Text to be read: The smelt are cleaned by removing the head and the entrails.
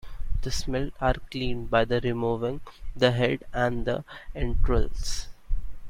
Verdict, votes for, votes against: rejected, 1, 2